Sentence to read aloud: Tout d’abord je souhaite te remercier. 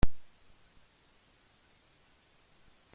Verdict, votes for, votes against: rejected, 0, 2